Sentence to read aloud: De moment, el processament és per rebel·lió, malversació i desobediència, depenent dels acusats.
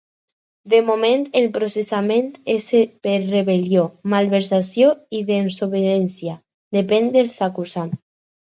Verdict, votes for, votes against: rejected, 2, 4